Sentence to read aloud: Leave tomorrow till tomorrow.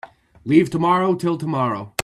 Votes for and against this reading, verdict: 2, 0, accepted